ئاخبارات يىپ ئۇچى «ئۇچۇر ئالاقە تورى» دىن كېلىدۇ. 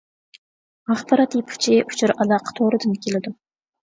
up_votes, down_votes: 2, 0